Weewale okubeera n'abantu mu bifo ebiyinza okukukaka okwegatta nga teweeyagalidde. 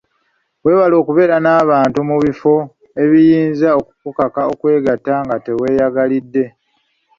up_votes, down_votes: 2, 0